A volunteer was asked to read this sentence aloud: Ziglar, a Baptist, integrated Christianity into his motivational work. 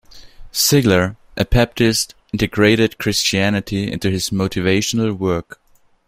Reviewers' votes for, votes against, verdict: 0, 2, rejected